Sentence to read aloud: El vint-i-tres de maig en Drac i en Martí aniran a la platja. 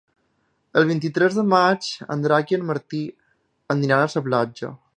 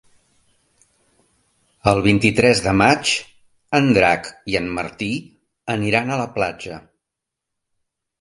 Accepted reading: second